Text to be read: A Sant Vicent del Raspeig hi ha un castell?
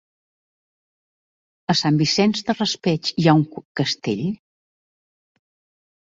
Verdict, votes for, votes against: rejected, 1, 2